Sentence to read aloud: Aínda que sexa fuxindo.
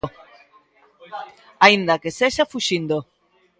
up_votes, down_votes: 2, 1